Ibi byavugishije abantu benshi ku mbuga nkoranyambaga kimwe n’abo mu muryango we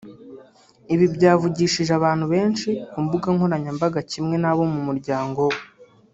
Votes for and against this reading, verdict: 2, 0, accepted